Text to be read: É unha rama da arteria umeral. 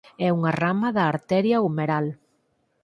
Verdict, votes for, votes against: accepted, 4, 0